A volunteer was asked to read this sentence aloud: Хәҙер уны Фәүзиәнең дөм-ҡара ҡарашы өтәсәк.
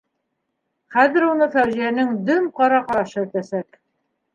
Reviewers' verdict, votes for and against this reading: rejected, 0, 2